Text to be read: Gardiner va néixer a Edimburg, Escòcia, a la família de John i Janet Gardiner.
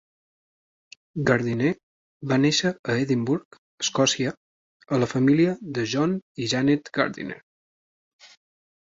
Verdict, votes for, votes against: rejected, 0, 2